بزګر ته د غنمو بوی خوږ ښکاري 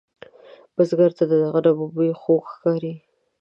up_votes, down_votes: 2, 0